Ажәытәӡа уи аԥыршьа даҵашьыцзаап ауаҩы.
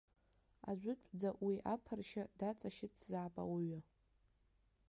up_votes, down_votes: 1, 2